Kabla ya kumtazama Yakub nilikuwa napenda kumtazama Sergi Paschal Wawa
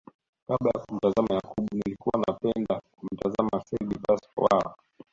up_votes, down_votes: 1, 2